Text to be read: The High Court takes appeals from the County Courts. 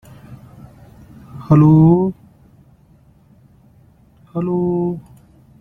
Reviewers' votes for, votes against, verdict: 0, 2, rejected